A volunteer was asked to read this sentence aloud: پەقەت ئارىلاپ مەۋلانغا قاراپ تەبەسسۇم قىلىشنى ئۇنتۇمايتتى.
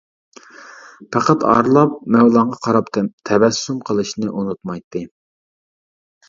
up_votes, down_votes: 0, 2